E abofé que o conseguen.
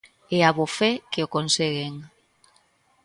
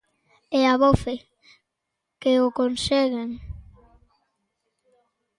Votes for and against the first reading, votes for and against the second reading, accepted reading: 2, 0, 1, 2, first